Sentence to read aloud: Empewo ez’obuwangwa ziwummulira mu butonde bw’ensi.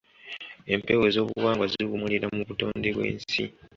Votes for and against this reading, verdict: 2, 0, accepted